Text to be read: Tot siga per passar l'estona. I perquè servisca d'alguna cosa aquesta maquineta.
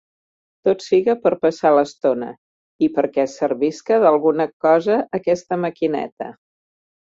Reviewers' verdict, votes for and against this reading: accepted, 3, 0